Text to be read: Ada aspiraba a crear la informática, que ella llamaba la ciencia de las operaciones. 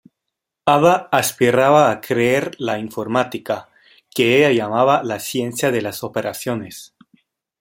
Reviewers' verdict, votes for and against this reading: rejected, 1, 2